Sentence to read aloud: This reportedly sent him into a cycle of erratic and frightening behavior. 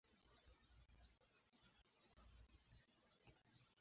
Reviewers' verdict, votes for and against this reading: rejected, 0, 2